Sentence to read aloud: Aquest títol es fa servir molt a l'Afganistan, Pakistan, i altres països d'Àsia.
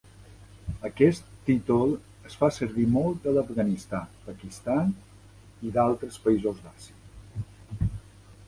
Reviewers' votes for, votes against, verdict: 0, 2, rejected